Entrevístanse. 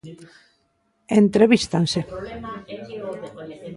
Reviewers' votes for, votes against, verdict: 0, 2, rejected